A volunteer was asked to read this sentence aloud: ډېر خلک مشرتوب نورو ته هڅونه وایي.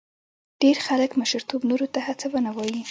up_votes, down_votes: 2, 0